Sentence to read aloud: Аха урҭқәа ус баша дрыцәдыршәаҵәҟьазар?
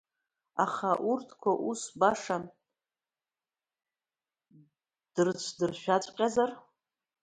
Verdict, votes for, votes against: rejected, 1, 2